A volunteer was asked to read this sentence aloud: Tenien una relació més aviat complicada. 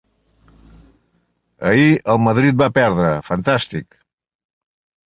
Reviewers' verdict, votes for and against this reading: rejected, 0, 4